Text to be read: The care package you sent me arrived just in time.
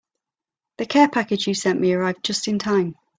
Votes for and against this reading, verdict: 3, 0, accepted